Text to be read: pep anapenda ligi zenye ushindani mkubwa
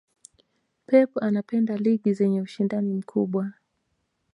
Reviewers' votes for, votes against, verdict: 3, 0, accepted